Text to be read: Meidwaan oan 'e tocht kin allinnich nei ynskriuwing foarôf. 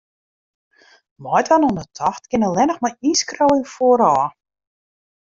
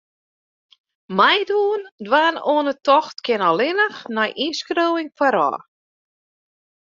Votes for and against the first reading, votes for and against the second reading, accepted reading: 2, 0, 0, 2, first